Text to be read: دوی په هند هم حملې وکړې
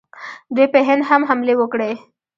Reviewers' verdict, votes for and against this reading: rejected, 1, 2